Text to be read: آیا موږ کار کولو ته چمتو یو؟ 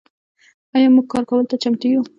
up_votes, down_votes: 2, 0